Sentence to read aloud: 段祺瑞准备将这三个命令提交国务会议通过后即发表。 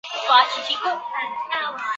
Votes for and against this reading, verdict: 1, 5, rejected